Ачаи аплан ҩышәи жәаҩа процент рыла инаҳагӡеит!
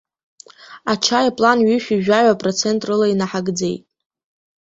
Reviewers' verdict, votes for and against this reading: accepted, 2, 0